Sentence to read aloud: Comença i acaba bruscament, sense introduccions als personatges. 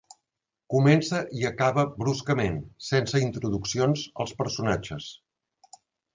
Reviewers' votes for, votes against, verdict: 2, 0, accepted